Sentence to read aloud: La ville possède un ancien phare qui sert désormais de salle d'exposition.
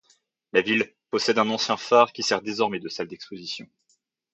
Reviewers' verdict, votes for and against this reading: accepted, 2, 0